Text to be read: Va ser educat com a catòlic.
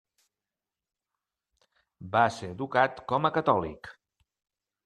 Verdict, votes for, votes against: accepted, 3, 0